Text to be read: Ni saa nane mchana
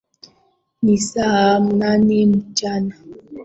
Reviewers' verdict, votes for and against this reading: accepted, 2, 1